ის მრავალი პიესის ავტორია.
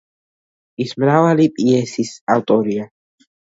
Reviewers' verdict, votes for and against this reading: accepted, 2, 0